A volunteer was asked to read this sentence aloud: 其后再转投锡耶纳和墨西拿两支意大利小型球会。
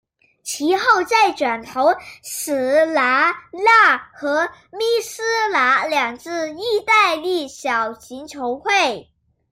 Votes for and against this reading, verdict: 0, 2, rejected